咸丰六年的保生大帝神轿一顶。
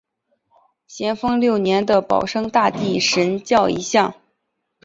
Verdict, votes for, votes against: rejected, 0, 2